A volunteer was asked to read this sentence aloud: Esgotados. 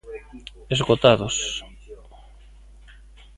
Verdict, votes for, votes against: rejected, 0, 2